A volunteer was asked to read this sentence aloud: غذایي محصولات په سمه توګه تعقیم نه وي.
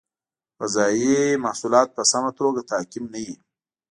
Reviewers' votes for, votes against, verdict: 2, 0, accepted